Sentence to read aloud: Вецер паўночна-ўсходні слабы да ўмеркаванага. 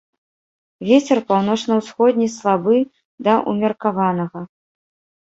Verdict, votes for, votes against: rejected, 1, 2